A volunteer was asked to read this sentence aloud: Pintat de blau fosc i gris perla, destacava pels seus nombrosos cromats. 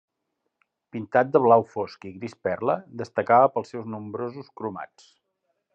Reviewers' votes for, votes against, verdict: 3, 0, accepted